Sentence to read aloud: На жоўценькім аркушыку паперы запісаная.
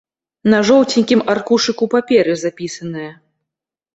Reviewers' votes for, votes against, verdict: 2, 0, accepted